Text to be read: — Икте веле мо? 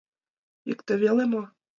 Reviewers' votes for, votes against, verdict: 2, 0, accepted